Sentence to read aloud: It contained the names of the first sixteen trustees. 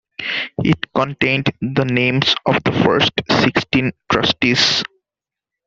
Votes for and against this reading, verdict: 2, 0, accepted